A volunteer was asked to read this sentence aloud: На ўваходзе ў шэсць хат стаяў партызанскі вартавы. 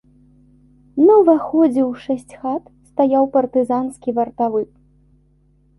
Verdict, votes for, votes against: accepted, 2, 0